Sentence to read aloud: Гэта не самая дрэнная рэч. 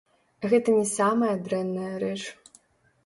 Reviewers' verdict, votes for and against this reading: rejected, 0, 2